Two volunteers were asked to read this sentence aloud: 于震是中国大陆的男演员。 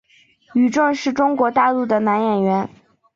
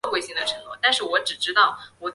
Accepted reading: first